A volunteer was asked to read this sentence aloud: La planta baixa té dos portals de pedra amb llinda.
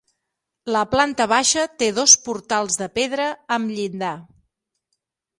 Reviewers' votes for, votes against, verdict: 3, 6, rejected